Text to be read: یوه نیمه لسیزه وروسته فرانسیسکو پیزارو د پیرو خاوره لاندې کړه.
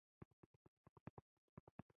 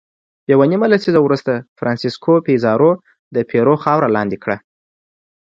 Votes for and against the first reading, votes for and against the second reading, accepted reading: 0, 2, 2, 0, second